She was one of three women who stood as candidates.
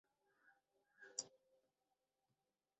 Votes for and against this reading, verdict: 0, 4, rejected